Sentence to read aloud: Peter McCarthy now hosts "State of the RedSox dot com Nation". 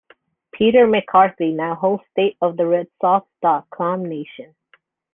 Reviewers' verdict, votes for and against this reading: accepted, 2, 0